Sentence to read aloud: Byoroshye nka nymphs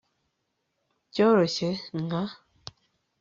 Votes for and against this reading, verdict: 2, 4, rejected